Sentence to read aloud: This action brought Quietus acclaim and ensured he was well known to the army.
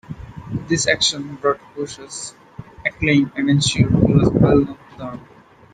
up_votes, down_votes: 0, 2